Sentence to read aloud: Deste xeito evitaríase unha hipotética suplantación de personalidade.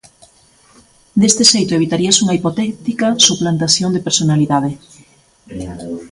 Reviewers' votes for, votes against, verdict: 0, 2, rejected